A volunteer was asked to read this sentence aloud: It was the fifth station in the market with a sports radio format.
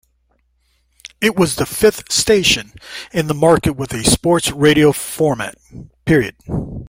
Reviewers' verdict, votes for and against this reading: accepted, 3, 0